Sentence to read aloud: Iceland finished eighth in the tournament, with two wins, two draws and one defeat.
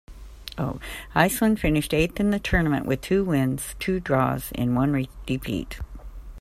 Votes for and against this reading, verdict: 1, 2, rejected